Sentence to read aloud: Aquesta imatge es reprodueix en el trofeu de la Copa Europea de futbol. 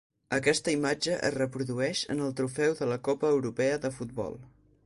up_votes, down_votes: 6, 0